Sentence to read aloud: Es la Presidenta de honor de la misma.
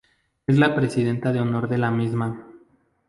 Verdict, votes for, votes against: accepted, 2, 0